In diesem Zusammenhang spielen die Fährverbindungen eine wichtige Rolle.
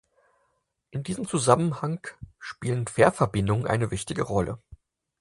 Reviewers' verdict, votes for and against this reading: accepted, 4, 2